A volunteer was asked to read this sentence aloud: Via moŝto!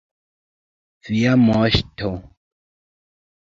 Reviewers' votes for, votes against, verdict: 2, 1, accepted